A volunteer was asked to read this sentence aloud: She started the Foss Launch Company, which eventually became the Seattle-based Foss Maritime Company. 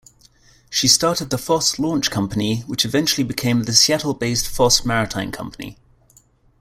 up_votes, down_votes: 2, 0